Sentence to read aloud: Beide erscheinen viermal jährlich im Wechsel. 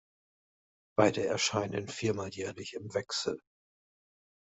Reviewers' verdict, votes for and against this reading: accepted, 3, 0